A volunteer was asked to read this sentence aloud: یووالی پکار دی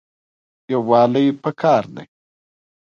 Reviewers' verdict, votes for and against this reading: accepted, 3, 1